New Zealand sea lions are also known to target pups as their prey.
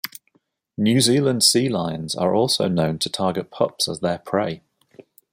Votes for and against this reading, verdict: 2, 0, accepted